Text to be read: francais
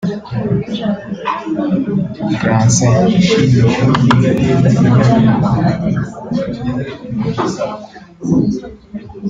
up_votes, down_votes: 2, 3